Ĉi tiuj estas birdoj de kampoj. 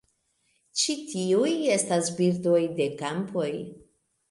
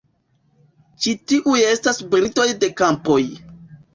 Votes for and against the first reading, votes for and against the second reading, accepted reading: 2, 0, 1, 2, first